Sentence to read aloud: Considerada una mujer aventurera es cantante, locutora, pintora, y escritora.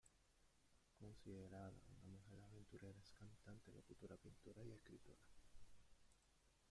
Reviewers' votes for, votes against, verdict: 0, 2, rejected